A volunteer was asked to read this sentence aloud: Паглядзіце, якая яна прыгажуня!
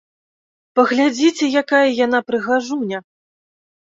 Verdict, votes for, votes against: accepted, 2, 0